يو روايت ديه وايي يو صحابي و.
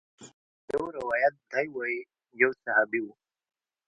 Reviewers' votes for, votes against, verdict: 2, 1, accepted